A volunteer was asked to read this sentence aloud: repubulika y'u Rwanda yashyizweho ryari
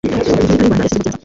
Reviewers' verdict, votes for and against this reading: rejected, 1, 2